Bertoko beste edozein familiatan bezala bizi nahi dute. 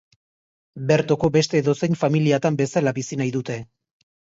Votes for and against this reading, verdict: 3, 0, accepted